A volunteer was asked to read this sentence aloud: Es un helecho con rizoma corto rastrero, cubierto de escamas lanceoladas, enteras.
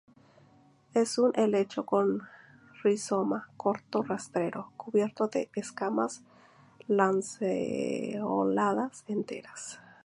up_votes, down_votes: 0, 2